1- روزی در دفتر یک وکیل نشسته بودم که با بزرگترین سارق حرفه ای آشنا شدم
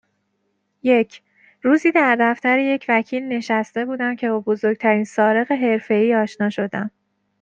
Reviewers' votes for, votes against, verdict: 0, 2, rejected